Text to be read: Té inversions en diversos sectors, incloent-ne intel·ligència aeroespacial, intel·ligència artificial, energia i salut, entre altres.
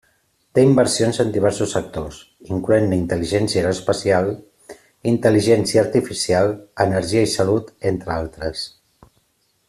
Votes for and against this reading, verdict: 2, 1, accepted